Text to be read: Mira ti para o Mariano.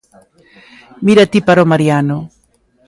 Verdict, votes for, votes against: accepted, 2, 0